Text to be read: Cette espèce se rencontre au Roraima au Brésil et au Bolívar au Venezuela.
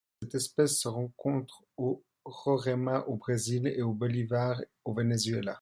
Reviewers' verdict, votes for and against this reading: rejected, 1, 2